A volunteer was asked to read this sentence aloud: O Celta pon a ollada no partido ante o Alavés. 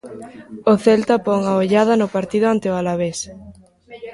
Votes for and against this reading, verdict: 1, 2, rejected